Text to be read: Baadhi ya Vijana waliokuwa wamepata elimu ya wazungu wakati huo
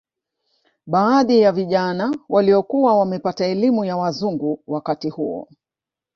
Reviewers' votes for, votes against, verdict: 1, 2, rejected